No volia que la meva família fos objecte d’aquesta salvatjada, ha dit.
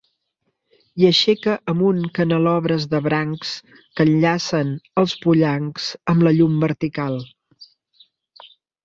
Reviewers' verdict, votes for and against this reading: rejected, 0, 3